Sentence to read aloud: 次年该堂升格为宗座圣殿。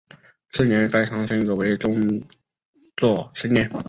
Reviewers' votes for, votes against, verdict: 1, 2, rejected